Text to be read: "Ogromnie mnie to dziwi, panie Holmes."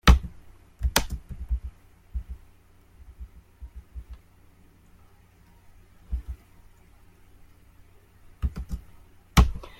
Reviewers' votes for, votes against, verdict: 0, 2, rejected